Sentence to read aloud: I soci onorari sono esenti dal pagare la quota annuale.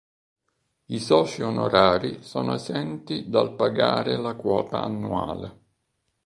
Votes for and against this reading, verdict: 1, 2, rejected